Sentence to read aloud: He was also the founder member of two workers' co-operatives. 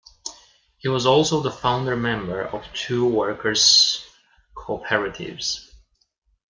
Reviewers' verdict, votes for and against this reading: rejected, 1, 2